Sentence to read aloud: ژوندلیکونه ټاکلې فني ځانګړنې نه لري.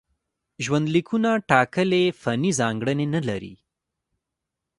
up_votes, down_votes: 1, 2